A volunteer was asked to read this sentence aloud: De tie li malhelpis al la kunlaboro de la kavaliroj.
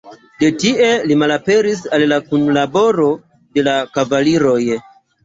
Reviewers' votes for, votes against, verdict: 1, 2, rejected